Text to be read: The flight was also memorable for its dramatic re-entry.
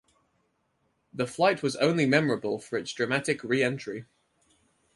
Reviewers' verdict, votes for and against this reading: accepted, 4, 0